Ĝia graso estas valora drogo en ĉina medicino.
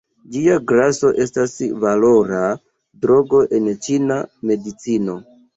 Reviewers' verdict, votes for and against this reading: rejected, 1, 2